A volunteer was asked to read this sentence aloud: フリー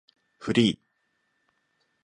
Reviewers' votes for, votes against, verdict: 2, 0, accepted